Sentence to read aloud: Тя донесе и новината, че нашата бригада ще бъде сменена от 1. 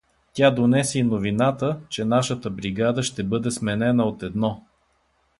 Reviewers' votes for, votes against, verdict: 0, 2, rejected